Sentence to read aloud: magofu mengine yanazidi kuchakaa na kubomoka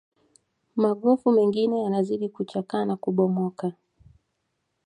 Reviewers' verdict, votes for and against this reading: accepted, 2, 0